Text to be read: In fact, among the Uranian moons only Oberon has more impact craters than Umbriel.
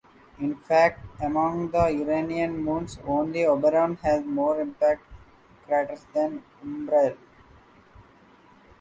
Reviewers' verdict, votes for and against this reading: accepted, 2, 1